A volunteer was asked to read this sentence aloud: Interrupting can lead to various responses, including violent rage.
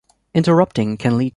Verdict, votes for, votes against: rejected, 0, 2